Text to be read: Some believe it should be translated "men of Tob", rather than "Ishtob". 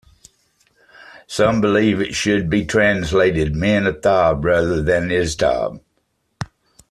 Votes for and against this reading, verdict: 2, 0, accepted